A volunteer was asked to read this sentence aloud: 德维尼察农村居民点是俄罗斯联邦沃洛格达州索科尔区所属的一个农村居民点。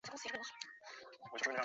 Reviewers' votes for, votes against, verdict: 0, 3, rejected